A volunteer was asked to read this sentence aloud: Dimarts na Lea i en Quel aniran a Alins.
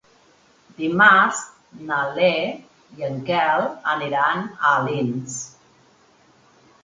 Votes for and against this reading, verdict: 1, 2, rejected